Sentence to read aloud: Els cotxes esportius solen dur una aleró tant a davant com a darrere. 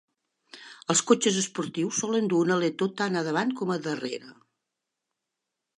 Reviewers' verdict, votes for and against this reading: rejected, 0, 2